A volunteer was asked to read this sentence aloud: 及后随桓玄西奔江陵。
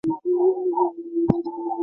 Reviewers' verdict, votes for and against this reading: rejected, 0, 4